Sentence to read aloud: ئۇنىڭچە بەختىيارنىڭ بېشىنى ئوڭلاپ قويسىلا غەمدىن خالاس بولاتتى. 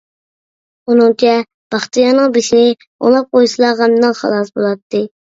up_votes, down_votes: 1, 2